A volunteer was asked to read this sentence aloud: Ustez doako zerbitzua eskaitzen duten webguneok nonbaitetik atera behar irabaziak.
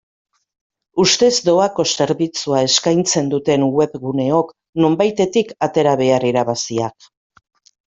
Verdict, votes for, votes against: accepted, 2, 0